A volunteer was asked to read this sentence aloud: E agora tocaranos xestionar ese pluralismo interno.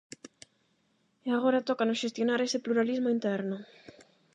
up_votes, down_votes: 0, 8